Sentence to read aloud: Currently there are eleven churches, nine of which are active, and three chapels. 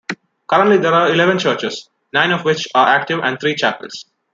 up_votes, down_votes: 1, 2